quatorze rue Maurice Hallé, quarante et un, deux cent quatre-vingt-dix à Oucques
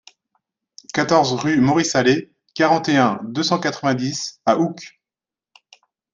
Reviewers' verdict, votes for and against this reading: accepted, 2, 0